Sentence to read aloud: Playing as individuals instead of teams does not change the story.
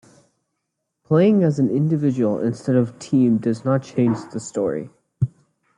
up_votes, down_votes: 0, 2